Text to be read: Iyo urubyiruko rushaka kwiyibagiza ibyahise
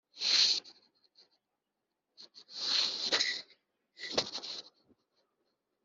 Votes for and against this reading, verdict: 0, 2, rejected